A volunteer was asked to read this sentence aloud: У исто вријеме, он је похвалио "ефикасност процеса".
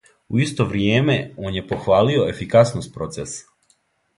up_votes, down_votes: 2, 0